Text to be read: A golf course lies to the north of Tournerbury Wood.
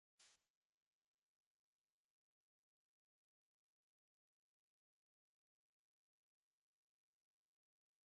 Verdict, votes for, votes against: rejected, 0, 3